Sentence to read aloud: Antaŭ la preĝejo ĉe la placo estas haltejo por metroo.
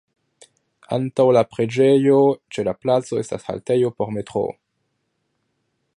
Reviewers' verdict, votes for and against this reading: accepted, 2, 0